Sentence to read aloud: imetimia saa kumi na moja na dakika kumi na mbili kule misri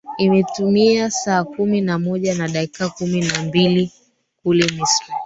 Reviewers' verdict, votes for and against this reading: rejected, 1, 2